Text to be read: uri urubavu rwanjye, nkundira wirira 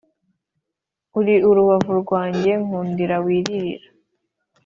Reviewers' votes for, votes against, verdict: 2, 0, accepted